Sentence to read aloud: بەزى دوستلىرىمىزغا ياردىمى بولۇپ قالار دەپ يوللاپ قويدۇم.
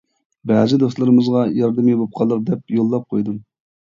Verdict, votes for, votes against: rejected, 1, 2